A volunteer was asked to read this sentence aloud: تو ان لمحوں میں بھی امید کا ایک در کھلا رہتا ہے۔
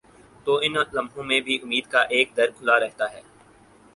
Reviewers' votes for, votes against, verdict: 4, 0, accepted